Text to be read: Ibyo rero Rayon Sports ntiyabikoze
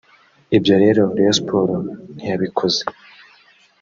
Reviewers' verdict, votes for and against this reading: rejected, 1, 2